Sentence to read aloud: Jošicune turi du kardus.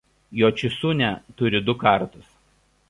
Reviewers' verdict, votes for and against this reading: rejected, 0, 2